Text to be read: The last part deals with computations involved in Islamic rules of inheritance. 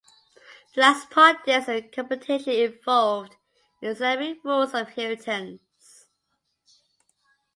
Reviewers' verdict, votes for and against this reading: accepted, 2, 1